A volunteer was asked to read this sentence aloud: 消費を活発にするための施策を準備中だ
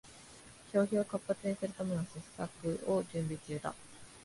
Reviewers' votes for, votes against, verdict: 2, 1, accepted